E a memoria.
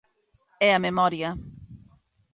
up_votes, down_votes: 2, 0